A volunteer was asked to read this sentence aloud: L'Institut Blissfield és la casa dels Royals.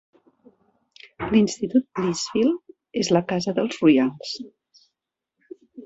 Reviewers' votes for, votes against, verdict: 1, 2, rejected